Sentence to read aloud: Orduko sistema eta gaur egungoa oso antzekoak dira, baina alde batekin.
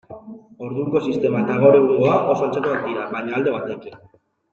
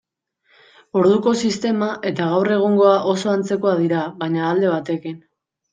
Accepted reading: second